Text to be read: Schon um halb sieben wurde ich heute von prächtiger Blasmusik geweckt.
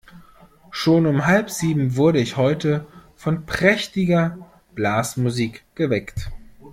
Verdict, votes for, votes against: accepted, 2, 0